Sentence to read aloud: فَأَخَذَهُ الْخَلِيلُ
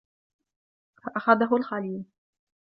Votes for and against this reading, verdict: 2, 0, accepted